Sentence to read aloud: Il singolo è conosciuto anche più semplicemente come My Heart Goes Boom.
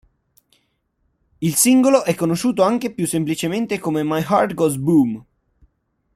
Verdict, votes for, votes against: accepted, 2, 0